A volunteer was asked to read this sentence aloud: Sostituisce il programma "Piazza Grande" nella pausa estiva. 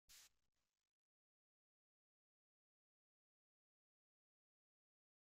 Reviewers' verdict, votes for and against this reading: rejected, 0, 2